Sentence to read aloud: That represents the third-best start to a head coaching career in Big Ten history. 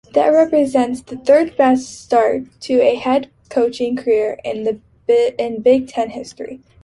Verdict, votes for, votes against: rejected, 0, 2